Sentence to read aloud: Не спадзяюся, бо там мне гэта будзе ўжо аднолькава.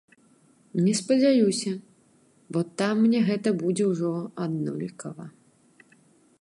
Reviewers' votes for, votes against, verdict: 2, 0, accepted